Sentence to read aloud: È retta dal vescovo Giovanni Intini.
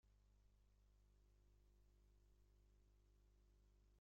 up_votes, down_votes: 0, 2